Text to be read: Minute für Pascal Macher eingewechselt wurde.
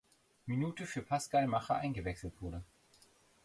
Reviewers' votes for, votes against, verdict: 2, 0, accepted